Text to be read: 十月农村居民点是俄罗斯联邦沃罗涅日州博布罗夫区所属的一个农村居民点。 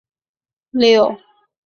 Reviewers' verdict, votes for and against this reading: rejected, 0, 2